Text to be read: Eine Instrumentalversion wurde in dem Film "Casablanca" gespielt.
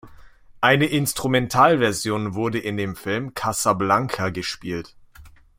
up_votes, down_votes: 2, 0